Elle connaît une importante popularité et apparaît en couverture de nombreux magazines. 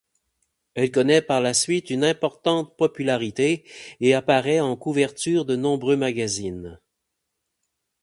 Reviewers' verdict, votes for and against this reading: rejected, 0, 4